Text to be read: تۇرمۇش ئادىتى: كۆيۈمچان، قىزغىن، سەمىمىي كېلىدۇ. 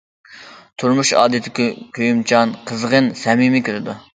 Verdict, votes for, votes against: accepted, 2, 0